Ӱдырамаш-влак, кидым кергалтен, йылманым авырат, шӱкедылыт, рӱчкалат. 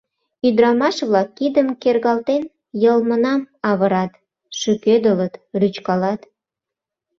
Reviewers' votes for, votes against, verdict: 1, 2, rejected